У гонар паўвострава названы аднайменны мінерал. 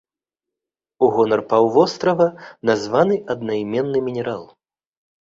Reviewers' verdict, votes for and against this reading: accepted, 2, 0